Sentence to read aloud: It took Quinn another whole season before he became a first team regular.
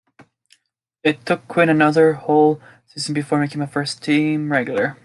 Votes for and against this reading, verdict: 2, 0, accepted